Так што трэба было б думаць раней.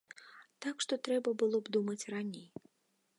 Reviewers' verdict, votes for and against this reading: accepted, 2, 0